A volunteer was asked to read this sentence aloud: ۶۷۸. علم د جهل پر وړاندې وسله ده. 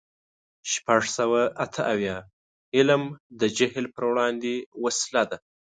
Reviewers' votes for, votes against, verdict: 0, 2, rejected